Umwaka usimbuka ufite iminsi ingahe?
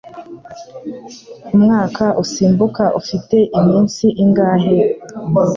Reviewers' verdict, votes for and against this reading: accepted, 2, 0